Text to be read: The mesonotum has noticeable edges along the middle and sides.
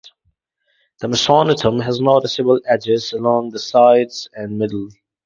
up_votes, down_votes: 0, 4